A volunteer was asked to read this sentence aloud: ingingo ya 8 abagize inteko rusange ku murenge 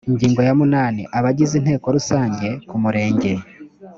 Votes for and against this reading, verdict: 0, 2, rejected